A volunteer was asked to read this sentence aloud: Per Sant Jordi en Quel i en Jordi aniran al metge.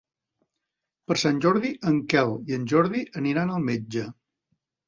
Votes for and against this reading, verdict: 3, 0, accepted